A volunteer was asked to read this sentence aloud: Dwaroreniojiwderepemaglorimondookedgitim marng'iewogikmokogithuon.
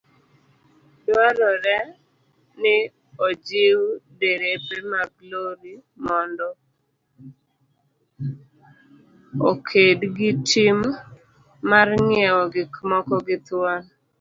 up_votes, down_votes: 0, 2